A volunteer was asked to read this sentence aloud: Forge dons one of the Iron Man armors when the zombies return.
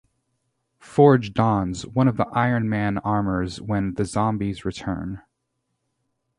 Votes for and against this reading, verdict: 2, 0, accepted